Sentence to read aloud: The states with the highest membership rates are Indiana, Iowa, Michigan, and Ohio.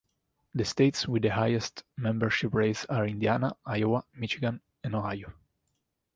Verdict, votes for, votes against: accepted, 2, 0